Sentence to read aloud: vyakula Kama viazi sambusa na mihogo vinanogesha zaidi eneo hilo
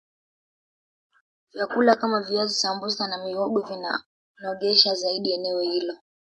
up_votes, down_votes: 3, 0